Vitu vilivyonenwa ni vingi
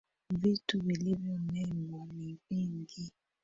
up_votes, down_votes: 0, 2